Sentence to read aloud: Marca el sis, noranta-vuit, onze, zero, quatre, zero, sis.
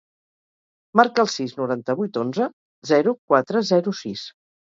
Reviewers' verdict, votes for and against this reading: accepted, 4, 0